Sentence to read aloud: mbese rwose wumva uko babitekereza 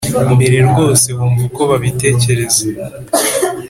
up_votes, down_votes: 2, 0